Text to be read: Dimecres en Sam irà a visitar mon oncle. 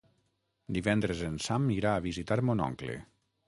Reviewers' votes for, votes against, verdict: 0, 6, rejected